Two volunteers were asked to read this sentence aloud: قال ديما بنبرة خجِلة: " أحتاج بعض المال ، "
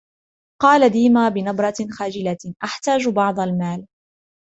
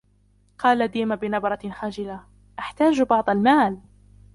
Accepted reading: first